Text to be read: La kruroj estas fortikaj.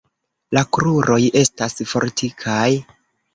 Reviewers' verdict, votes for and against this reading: accepted, 2, 0